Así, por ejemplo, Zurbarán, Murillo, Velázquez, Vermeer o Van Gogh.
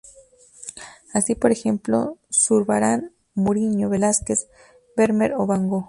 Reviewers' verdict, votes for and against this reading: rejected, 0, 2